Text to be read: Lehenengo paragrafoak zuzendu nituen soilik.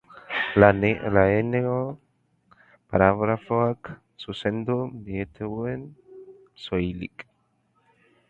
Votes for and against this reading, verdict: 0, 4, rejected